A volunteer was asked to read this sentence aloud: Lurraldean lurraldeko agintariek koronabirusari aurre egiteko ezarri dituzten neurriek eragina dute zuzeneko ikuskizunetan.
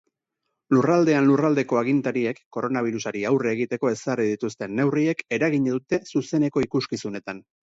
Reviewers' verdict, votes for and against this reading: accepted, 6, 0